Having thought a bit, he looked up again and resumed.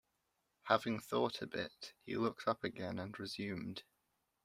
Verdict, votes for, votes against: accepted, 2, 0